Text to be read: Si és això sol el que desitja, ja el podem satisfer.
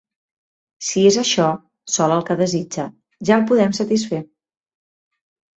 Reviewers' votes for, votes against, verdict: 6, 0, accepted